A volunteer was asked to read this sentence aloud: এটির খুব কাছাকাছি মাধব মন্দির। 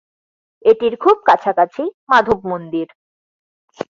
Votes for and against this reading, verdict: 2, 0, accepted